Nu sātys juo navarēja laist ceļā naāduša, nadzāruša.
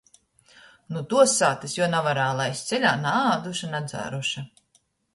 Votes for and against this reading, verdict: 0, 2, rejected